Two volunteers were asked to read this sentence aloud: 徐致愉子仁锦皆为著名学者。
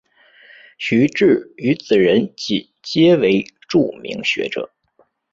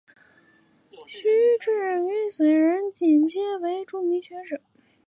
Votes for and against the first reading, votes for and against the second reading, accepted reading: 3, 0, 0, 2, first